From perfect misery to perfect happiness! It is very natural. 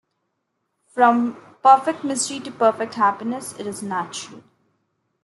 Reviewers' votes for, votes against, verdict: 0, 2, rejected